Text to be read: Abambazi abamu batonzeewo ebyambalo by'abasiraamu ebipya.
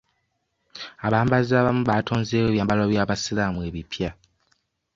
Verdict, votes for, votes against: accepted, 2, 0